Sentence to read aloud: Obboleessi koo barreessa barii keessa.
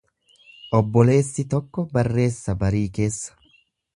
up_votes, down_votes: 0, 2